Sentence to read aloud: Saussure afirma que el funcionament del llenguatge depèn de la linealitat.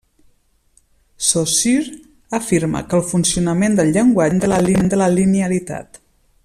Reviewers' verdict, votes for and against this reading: rejected, 0, 2